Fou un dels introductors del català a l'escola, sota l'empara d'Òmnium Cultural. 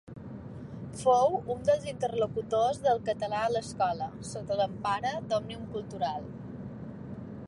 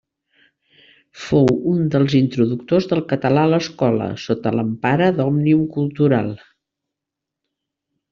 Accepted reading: second